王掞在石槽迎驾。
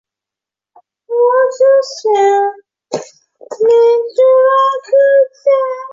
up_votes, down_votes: 0, 2